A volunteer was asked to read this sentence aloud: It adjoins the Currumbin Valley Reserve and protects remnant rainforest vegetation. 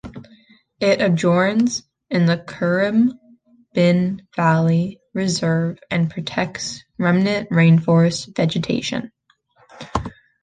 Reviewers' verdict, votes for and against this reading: rejected, 0, 2